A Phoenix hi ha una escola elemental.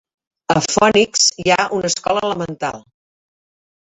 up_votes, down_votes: 2, 1